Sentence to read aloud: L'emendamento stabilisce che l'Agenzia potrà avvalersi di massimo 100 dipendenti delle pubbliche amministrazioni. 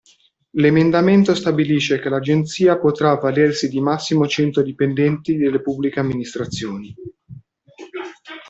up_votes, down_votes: 0, 2